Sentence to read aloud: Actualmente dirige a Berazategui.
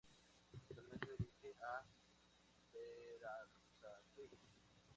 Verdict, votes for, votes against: rejected, 2, 4